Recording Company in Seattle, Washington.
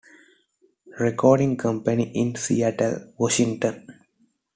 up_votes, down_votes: 2, 0